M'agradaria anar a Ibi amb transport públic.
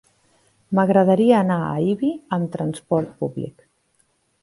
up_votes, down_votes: 2, 0